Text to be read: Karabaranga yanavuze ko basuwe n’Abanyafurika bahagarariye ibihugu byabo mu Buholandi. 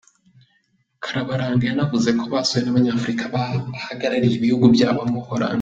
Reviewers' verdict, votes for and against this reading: accepted, 2, 1